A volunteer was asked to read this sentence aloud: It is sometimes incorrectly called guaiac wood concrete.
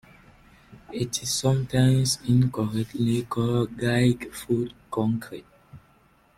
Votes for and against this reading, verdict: 0, 2, rejected